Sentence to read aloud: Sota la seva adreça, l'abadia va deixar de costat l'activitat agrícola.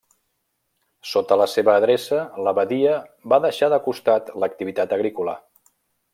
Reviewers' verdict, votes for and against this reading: accepted, 2, 0